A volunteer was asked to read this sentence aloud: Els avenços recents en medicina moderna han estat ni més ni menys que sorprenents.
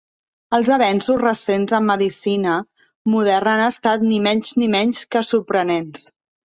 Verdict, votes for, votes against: rejected, 0, 2